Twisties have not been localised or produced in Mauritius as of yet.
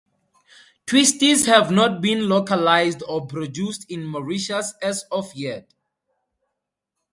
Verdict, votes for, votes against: accepted, 4, 0